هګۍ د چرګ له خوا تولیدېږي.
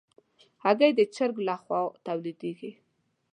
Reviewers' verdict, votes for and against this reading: accepted, 2, 0